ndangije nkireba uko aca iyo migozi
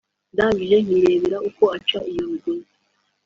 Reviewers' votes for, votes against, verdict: 2, 1, accepted